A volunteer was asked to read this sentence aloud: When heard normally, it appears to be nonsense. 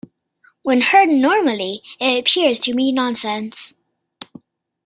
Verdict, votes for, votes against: accepted, 2, 0